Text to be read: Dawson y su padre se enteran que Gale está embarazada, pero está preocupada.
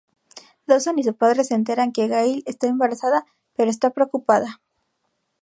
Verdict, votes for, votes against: rejected, 2, 2